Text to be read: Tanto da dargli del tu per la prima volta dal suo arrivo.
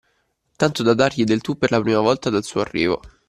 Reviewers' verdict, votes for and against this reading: accepted, 2, 0